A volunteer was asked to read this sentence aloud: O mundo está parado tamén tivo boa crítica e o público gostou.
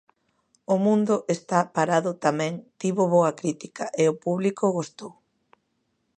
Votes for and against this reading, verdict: 2, 0, accepted